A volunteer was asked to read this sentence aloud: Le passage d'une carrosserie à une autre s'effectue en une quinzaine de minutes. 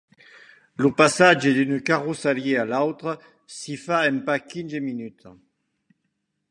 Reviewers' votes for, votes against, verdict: 1, 2, rejected